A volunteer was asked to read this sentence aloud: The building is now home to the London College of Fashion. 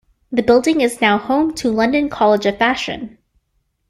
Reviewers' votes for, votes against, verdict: 0, 2, rejected